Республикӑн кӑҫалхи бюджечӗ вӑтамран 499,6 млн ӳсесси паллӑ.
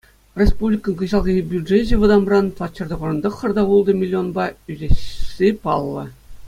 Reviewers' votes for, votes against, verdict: 0, 2, rejected